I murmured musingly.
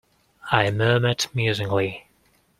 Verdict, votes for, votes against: accepted, 2, 0